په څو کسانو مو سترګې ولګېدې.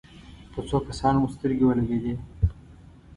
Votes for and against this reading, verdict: 2, 0, accepted